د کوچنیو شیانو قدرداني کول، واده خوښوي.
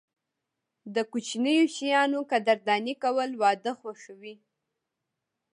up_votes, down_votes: 0, 2